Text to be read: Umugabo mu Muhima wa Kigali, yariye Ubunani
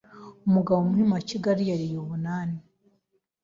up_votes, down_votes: 2, 0